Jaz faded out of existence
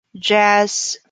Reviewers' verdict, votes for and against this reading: rejected, 0, 4